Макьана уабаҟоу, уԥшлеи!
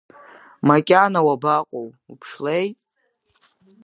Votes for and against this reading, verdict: 3, 0, accepted